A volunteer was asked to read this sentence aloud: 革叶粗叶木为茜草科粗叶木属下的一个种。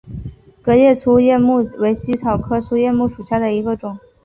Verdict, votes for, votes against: rejected, 2, 3